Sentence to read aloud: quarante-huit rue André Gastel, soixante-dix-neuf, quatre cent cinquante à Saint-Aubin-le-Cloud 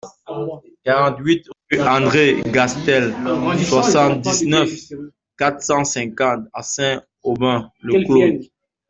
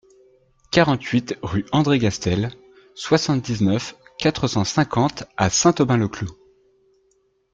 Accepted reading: second